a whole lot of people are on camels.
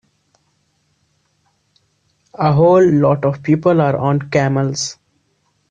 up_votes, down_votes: 2, 0